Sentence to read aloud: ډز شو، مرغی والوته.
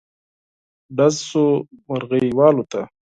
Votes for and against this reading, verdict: 4, 0, accepted